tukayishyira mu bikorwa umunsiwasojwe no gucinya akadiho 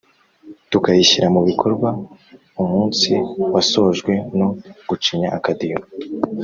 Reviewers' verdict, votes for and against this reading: accepted, 3, 0